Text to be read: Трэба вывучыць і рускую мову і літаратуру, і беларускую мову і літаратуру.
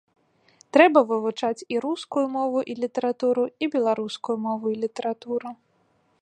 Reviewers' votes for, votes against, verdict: 1, 2, rejected